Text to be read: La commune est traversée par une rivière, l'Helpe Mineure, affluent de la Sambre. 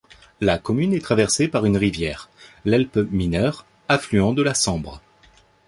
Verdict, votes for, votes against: accepted, 2, 0